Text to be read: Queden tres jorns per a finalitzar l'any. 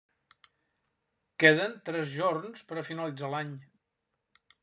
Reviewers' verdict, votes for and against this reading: accepted, 3, 0